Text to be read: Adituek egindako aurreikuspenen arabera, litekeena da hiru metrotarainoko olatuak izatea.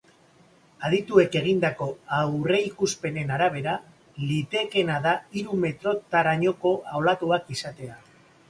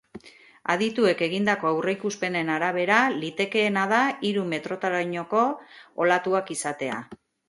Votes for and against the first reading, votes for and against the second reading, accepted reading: 1, 2, 6, 0, second